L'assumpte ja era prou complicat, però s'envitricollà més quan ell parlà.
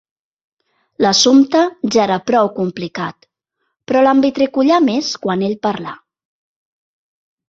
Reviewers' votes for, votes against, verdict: 1, 2, rejected